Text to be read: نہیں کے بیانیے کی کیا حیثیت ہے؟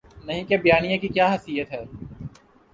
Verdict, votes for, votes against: accepted, 2, 0